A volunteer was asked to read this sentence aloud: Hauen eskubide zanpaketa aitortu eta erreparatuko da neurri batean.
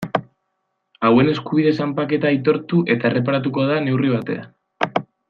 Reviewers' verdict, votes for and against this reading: accepted, 2, 0